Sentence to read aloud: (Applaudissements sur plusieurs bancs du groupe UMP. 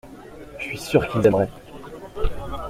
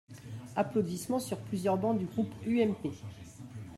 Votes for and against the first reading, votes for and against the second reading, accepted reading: 0, 2, 2, 1, second